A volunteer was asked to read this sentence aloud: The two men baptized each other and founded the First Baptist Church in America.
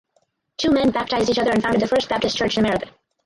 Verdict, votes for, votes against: rejected, 0, 4